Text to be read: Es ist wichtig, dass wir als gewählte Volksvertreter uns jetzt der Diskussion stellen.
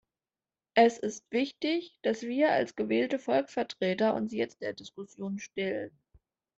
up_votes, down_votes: 2, 0